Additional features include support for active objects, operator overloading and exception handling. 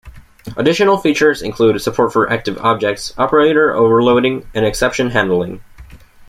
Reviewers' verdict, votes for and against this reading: rejected, 1, 2